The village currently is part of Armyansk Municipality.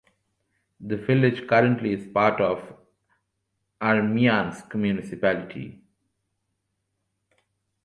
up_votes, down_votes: 2, 0